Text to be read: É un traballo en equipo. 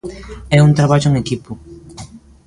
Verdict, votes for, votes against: rejected, 1, 2